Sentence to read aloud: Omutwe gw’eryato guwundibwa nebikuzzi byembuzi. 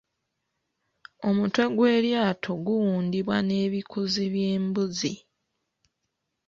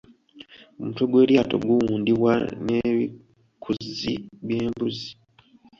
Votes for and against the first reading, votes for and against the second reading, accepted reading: 1, 2, 2, 1, second